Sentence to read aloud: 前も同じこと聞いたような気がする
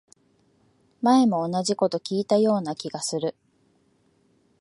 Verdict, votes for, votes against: accepted, 5, 0